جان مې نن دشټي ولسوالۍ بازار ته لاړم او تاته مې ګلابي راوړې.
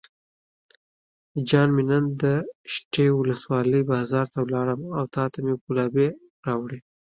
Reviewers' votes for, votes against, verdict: 3, 0, accepted